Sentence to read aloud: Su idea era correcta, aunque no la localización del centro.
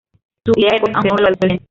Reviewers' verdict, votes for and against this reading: rejected, 0, 2